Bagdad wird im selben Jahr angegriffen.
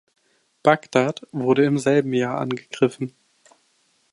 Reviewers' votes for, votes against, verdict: 0, 2, rejected